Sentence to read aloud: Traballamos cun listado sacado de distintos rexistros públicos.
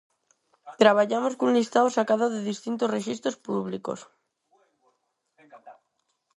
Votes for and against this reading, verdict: 0, 4, rejected